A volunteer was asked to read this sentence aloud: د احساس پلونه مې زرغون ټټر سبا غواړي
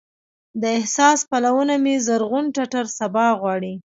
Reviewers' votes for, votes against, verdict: 2, 0, accepted